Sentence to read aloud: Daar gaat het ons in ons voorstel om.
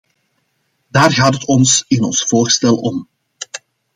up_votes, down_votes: 2, 0